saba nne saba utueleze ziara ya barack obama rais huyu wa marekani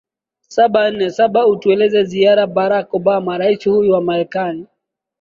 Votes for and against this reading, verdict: 1, 2, rejected